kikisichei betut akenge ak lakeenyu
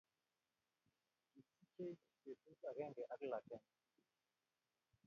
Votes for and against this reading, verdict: 0, 2, rejected